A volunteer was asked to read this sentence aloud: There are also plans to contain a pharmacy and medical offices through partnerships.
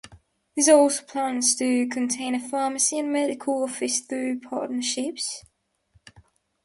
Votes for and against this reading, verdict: 1, 2, rejected